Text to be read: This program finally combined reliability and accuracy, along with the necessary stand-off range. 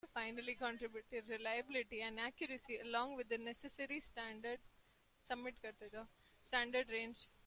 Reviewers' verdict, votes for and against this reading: rejected, 0, 2